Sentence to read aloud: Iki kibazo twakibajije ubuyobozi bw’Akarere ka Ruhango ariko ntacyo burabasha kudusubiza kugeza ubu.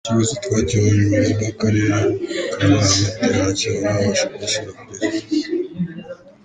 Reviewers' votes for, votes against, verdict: 0, 2, rejected